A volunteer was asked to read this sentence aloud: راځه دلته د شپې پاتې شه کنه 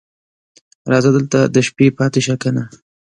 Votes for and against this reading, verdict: 2, 0, accepted